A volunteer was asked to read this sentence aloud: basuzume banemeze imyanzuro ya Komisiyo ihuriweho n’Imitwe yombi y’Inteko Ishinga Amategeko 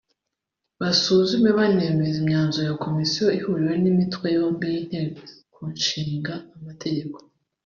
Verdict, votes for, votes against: accepted, 3, 1